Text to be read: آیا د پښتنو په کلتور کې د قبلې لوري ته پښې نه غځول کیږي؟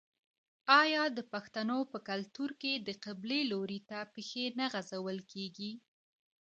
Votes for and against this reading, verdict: 1, 2, rejected